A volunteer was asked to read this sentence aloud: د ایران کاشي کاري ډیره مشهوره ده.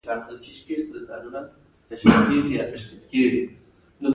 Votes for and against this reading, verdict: 2, 0, accepted